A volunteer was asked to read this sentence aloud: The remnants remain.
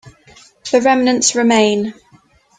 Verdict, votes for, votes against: accepted, 2, 0